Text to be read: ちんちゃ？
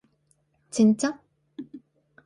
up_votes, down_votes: 2, 0